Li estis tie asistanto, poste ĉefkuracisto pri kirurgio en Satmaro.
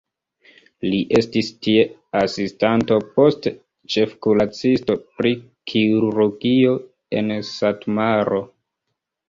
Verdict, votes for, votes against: rejected, 1, 2